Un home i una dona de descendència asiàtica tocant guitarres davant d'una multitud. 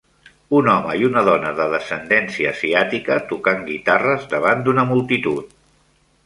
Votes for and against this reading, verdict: 3, 0, accepted